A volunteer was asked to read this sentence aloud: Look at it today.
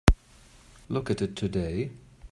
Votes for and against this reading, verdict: 2, 0, accepted